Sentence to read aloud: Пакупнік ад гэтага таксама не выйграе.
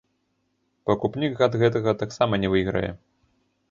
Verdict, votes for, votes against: accepted, 2, 1